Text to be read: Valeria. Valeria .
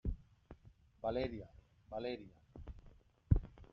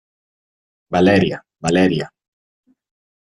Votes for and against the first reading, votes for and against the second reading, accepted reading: 0, 2, 2, 0, second